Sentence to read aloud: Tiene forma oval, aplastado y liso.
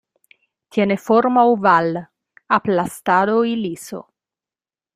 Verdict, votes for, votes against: accepted, 2, 0